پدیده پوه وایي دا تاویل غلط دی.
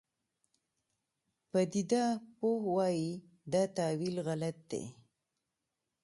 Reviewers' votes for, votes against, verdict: 2, 0, accepted